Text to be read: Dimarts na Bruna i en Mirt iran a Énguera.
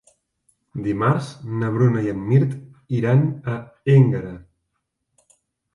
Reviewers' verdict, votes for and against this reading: accepted, 2, 0